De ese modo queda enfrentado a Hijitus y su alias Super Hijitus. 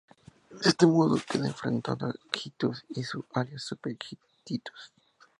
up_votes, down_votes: 2, 0